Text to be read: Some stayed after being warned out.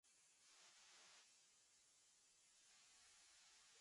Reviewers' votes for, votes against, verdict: 0, 2, rejected